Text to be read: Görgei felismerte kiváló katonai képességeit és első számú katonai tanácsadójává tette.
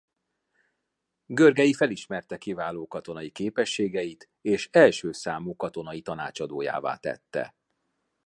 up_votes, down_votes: 2, 0